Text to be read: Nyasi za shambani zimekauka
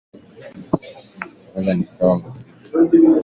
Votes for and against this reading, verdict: 0, 3, rejected